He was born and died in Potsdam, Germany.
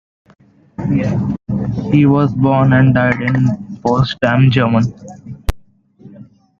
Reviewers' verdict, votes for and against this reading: rejected, 1, 2